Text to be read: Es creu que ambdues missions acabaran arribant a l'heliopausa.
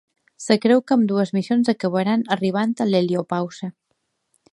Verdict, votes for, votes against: rejected, 1, 2